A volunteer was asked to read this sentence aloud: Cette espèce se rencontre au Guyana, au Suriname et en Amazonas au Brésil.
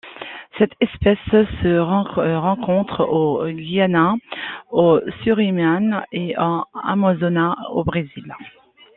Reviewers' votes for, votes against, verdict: 1, 2, rejected